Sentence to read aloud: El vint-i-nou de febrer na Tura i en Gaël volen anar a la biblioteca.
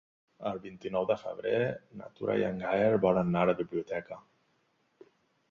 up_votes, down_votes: 0, 2